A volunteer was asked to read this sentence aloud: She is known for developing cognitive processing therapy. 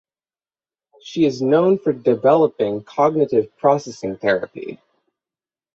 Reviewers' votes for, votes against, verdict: 6, 3, accepted